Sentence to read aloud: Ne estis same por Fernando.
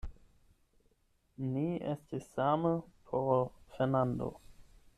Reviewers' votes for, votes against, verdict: 4, 8, rejected